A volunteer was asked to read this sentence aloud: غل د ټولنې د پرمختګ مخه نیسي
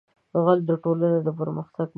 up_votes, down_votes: 1, 2